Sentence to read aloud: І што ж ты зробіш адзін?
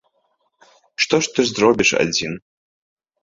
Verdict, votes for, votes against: accepted, 2, 1